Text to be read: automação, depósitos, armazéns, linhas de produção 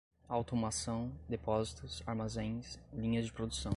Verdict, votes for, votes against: accepted, 2, 0